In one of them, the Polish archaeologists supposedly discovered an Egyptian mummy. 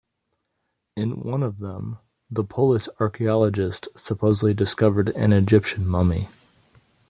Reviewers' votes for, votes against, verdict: 2, 0, accepted